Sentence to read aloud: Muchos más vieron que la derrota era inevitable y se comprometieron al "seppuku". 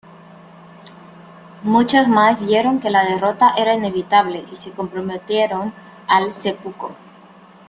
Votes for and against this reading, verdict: 2, 0, accepted